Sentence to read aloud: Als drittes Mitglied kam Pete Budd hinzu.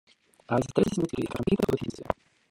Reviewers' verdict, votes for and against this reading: rejected, 0, 2